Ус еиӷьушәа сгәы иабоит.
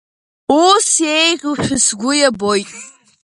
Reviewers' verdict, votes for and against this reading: rejected, 1, 3